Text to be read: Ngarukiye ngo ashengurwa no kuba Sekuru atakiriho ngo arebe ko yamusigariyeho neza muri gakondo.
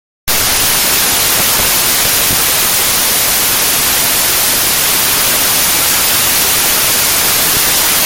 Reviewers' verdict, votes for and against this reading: rejected, 0, 2